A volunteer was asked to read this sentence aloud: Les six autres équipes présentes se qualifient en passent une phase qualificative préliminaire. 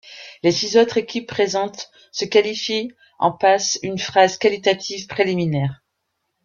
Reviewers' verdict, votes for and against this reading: rejected, 0, 2